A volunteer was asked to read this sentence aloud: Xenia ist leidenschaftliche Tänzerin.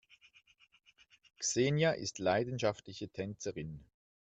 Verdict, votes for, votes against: accepted, 2, 0